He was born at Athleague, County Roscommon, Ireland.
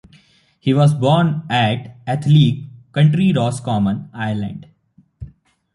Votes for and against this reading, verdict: 1, 2, rejected